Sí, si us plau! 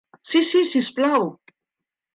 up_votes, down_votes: 0, 2